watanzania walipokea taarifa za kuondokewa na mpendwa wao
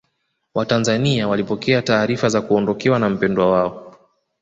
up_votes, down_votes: 2, 1